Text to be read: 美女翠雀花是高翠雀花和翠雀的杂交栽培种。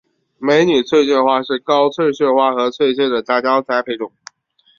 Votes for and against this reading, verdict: 3, 0, accepted